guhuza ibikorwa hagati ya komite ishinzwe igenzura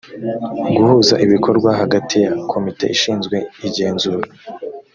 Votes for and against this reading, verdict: 2, 0, accepted